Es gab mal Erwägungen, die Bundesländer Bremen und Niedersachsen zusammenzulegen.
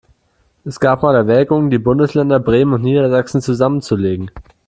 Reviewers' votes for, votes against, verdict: 2, 0, accepted